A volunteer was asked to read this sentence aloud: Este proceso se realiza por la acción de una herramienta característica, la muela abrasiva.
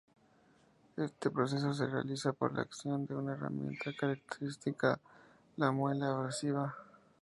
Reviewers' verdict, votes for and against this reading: accepted, 2, 0